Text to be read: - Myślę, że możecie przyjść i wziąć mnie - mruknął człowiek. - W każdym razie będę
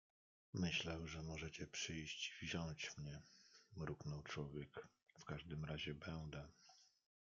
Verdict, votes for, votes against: rejected, 0, 2